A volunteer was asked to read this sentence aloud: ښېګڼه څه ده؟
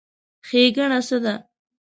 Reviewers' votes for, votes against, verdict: 2, 0, accepted